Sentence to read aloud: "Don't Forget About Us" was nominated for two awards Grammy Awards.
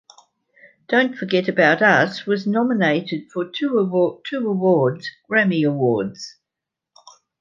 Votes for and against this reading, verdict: 1, 2, rejected